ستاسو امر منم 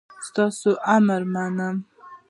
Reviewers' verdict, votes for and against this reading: accepted, 2, 0